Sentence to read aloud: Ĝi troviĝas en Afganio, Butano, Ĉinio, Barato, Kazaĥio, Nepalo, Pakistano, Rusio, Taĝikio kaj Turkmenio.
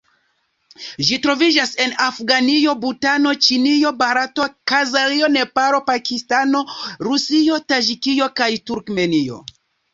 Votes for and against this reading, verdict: 2, 0, accepted